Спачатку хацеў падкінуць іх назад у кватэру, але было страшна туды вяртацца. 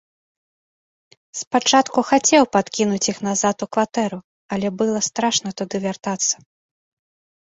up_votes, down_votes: 0, 2